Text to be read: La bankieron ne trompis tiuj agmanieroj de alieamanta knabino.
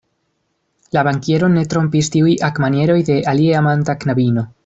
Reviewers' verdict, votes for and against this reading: accepted, 2, 0